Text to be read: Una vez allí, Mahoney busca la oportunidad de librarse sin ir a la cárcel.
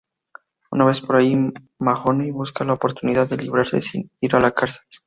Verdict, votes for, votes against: rejected, 0, 2